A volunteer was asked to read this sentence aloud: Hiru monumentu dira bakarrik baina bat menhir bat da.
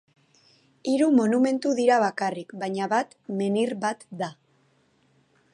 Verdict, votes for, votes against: accepted, 2, 0